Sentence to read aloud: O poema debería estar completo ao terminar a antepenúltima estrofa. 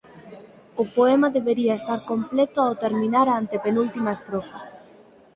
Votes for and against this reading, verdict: 4, 2, accepted